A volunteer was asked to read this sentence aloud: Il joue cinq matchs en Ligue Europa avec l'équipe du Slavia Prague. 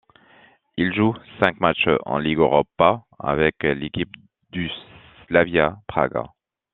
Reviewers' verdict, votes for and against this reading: rejected, 1, 2